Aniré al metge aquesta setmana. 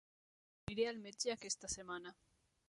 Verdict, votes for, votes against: rejected, 1, 2